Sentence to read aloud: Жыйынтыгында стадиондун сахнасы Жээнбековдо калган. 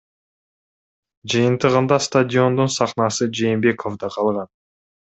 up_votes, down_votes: 2, 0